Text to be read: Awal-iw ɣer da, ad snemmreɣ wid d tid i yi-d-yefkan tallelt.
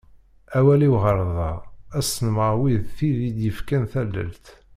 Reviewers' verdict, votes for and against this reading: rejected, 1, 2